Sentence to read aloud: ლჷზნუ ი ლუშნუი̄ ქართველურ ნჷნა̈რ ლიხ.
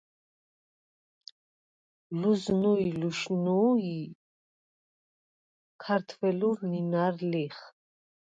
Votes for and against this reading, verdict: 0, 4, rejected